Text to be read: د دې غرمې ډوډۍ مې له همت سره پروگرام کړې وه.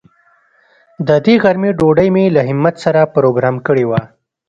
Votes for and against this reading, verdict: 2, 0, accepted